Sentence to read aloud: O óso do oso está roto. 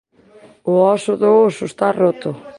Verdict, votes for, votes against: rejected, 1, 2